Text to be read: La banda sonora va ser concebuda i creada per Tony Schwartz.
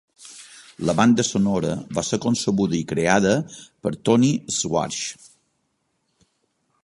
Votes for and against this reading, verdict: 2, 1, accepted